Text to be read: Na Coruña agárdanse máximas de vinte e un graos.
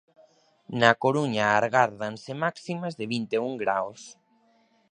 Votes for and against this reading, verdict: 0, 2, rejected